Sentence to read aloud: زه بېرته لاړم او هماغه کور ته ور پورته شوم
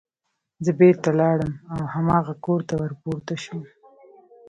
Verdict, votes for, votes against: rejected, 1, 2